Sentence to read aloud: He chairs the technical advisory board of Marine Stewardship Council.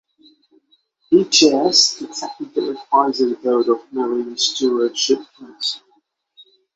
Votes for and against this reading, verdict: 6, 0, accepted